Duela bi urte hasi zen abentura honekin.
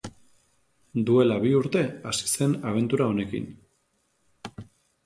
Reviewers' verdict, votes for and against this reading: accepted, 2, 0